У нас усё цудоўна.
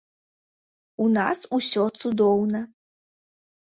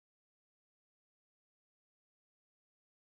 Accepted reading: first